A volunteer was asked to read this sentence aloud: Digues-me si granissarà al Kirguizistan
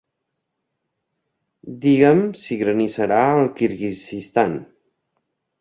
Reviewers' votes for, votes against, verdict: 0, 2, rejected